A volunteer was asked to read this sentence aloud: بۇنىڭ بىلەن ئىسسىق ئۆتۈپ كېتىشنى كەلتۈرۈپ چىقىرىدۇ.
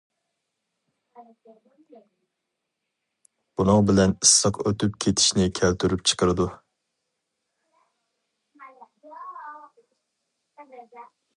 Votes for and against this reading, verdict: 4, 0, accepted